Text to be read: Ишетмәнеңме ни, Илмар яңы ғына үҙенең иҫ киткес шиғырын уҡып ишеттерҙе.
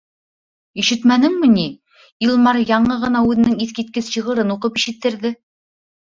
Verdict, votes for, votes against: accepted, 2, 0